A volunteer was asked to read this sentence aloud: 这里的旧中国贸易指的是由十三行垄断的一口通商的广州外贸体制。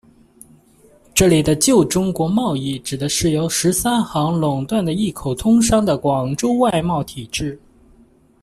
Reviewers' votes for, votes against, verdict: 2, 0, accepted